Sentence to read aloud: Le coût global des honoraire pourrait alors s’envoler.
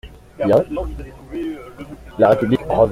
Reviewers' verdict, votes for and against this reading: rejected, 0, 2